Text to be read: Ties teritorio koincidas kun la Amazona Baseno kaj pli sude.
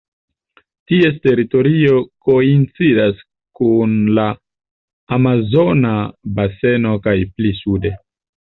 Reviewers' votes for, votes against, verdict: 1, 2, rejected